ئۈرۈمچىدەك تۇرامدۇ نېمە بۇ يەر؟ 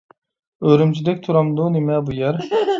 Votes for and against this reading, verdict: 3, 0, accepted